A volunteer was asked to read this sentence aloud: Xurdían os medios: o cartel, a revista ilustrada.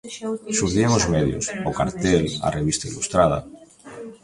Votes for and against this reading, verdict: 1, 2, rejected